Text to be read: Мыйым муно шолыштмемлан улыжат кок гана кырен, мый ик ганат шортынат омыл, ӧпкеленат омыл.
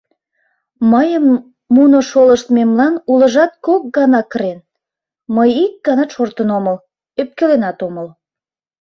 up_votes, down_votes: 0, 2